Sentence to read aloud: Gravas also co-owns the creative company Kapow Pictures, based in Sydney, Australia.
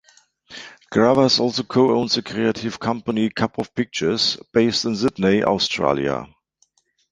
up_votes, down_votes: 0, 2